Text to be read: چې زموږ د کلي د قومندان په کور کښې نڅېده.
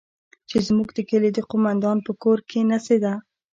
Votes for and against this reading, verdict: 2, 0, accepted